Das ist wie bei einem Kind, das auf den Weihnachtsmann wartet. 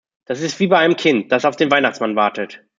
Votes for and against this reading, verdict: 2, 0, accepted